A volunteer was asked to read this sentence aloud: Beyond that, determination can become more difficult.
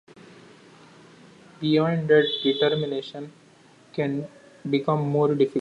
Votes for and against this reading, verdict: 0, 2, rejected